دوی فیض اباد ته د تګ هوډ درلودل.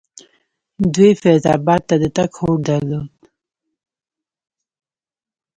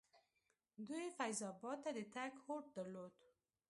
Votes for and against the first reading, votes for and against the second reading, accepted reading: 0, 2, 2, 0, second